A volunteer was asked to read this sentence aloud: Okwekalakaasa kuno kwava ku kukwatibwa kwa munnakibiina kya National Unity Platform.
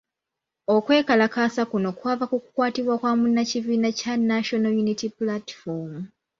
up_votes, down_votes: 3, 0